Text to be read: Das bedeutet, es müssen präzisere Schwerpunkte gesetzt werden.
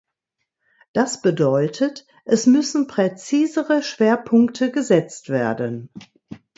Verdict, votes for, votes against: accepted, 2, 0